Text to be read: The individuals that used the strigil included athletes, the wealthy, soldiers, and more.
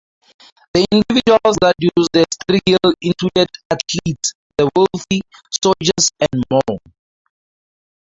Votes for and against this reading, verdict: 0, 4, rejected